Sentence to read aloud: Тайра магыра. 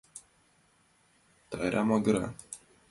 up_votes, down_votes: 2, 0